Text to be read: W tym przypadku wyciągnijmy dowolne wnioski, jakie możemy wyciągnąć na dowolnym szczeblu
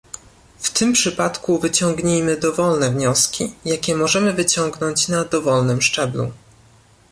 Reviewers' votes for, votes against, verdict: 2, 0, accepted